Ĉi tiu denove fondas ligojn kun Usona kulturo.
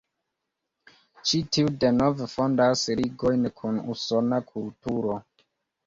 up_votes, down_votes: 2, 0